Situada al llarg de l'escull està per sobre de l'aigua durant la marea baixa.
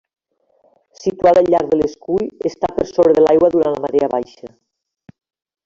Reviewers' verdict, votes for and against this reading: rejected, 0, 2